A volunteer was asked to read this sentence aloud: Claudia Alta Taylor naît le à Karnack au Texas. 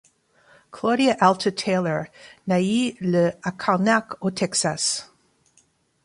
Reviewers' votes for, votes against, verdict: 1, 2, rejected